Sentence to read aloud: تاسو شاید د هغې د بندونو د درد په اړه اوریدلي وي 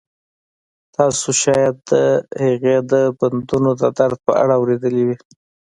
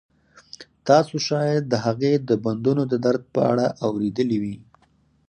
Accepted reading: second